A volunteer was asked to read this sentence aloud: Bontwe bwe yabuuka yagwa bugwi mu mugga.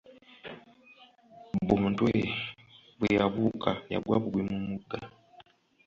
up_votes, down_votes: 2, 0